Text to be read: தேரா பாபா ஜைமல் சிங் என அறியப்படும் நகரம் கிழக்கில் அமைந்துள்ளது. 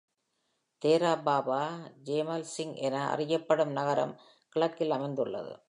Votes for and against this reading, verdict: 0, 2, rejected